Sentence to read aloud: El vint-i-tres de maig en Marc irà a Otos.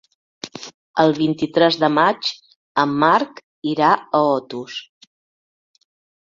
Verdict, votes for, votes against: accepted, 3, 0